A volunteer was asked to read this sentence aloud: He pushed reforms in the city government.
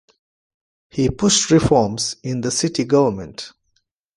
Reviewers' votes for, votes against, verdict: 1, 2, rejected